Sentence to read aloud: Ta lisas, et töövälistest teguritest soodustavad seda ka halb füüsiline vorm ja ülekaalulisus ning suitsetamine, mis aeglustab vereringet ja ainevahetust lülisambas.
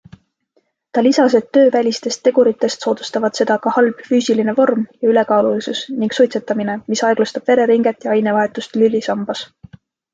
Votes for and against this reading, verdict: 2, 0, accepted